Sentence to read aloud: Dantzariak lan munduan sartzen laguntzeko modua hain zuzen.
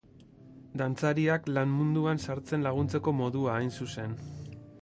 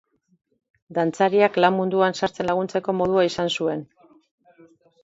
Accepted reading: first